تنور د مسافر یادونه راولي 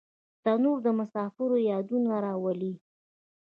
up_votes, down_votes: 2, 0